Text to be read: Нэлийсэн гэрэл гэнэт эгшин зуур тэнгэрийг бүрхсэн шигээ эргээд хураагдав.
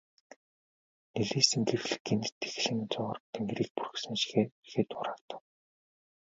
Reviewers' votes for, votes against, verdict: 2, 0, accepted